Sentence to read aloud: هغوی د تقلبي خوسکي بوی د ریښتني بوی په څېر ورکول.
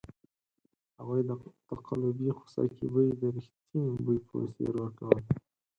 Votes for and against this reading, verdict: 2, 4, rejected